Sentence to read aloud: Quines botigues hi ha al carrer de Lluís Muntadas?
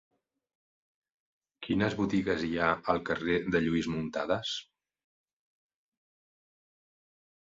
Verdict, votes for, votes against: accepted, 2, 0